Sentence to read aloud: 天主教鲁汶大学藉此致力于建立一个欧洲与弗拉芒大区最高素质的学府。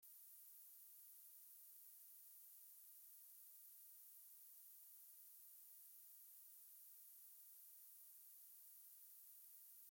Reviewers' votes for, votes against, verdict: 0, 2, rejected